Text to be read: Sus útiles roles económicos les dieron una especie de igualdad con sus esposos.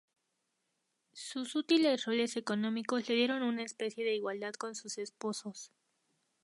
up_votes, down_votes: 0, 2